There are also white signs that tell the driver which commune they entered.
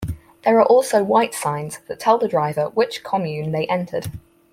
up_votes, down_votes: 4, 0